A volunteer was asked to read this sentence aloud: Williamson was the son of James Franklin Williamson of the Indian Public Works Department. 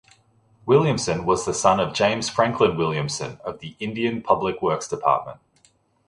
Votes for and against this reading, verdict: 2, 0, accepted